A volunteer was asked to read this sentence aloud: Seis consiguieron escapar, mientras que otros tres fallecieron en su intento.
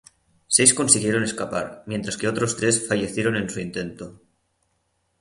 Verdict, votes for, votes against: accepted, 3, 0